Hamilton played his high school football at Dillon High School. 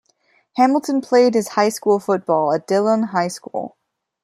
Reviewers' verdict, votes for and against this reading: accepted, 2, 0